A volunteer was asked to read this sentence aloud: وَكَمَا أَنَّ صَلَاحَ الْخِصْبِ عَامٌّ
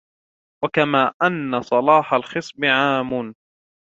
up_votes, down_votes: 2, 0